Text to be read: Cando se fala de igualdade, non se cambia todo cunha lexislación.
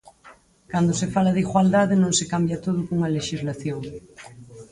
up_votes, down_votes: 2, 4